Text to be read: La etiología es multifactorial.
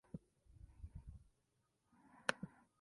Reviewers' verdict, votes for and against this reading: rejected, 0, 2